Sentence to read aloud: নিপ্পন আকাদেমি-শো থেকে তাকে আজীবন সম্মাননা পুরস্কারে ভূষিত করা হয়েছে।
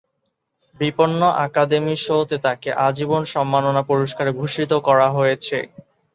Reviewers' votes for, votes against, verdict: 0, 2, rejected